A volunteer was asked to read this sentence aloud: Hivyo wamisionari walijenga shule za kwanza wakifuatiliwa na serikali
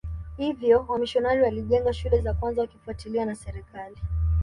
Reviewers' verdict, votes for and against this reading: accepted, 2, 1